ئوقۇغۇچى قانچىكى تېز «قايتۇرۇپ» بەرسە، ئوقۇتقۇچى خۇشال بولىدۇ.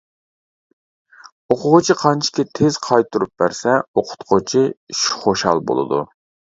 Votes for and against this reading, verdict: 2, 1, accepted